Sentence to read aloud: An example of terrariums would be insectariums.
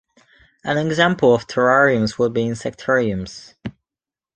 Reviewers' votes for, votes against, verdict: 2, 0, accepted